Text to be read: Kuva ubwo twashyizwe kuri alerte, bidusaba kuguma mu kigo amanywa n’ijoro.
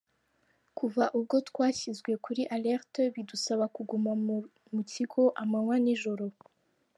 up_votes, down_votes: 2, 1